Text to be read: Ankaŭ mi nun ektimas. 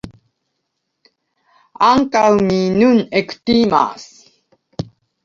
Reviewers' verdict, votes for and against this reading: accepted, 2, 0